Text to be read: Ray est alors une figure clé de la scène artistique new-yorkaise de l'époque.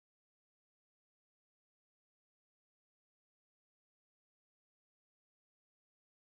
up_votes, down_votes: 1, 2